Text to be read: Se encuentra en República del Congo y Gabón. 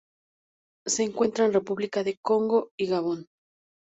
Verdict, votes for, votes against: rejected, 2, 2